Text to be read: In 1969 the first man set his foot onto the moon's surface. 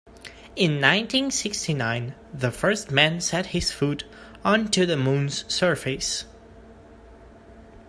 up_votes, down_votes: 0, 2